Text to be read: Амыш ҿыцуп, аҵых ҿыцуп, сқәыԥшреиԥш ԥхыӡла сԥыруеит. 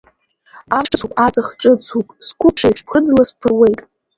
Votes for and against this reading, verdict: 2, 1, accepted